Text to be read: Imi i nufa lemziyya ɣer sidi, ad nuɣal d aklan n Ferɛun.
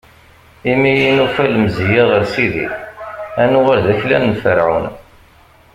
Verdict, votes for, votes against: rejected, 0, 2